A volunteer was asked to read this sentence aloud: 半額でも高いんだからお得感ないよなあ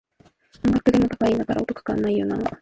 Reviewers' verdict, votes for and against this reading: rejected, 0, 2